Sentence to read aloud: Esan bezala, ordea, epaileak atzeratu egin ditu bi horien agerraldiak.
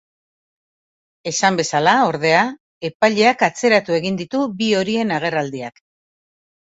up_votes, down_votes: 3, 0